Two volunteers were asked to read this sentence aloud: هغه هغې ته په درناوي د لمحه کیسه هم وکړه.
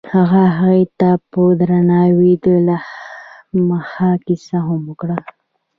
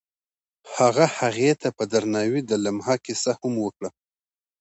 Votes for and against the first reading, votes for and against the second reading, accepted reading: 0, 2, 2, 0, second